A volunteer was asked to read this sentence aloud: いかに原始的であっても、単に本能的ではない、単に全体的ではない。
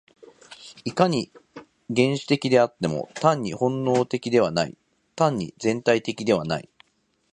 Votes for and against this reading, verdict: 4, 0, accepted